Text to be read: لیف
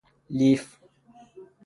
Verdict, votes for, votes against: accepted, 6, 0